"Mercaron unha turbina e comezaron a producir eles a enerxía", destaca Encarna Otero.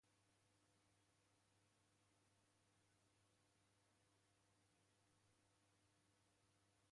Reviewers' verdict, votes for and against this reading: rejected, 0, 2